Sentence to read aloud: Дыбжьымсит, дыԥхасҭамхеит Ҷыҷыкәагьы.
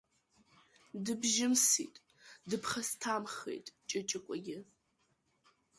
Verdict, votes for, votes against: accepted, 2, 0